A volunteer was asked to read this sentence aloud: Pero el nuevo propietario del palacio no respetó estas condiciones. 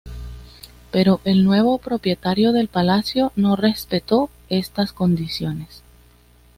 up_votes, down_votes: 2, 0